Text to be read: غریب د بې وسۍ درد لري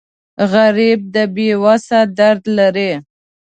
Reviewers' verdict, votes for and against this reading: rejected, 1, 2